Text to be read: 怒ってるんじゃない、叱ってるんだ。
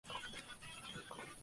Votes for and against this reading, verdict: 0, 2, rejected